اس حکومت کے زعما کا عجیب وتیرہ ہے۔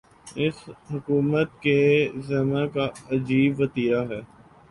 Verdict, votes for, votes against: rejected, 1, 2